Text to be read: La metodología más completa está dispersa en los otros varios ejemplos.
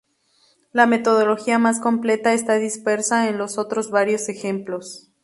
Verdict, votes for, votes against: accepted, 2, 0